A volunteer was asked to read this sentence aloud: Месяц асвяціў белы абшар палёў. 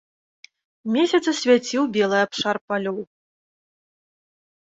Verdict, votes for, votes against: accepted, 2, 0